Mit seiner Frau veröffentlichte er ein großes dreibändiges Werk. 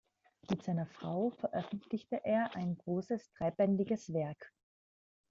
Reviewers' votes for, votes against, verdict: 2, 0, accepted